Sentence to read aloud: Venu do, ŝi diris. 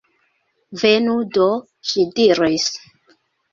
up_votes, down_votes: 1, 2